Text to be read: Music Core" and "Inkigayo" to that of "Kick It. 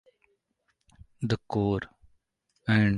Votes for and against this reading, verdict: 0, 2, rejected